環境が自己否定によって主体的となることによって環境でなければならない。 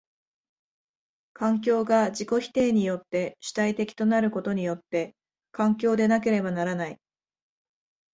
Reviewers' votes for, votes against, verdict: 3, 0, accepted